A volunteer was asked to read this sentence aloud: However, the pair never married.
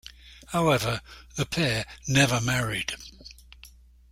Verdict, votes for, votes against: accepted, 2, 0